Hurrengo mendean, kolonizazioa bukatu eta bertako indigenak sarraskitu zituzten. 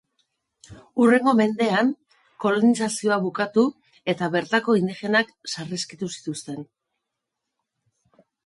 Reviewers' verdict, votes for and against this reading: rejected, 1, 2